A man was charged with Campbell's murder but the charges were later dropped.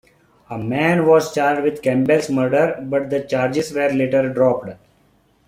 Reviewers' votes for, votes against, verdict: 2, 0, accepted